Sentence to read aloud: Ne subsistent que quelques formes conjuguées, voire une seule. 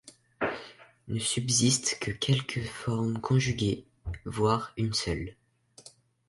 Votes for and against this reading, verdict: 2, 0, accepted